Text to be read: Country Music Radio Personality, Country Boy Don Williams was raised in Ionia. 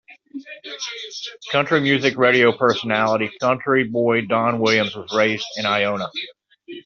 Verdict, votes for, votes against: accepted, 2, 1